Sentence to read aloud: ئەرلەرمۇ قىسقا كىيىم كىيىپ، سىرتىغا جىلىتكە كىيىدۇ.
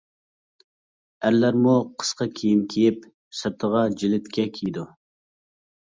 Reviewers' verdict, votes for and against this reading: accepted, 2, 0